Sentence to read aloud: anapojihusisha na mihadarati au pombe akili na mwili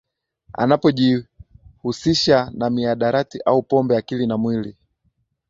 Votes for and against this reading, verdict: 3, 0, accepted